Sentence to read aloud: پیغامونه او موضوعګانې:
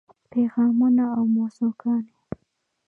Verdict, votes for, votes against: rejected, 0, 2